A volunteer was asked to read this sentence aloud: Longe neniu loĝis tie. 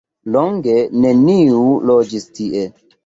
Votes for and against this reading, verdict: 2, 0, accepted